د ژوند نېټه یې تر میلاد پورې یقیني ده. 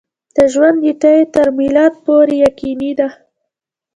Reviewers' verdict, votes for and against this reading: accepted, 2, 1